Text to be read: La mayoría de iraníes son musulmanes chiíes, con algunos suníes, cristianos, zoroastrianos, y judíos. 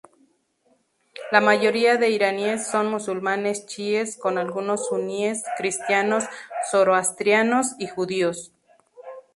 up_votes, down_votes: 2, 0